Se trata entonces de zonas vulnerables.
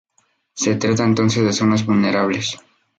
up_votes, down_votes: 0, 2